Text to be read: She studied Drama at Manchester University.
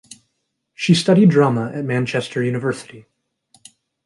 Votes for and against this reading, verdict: 2, 0, accepted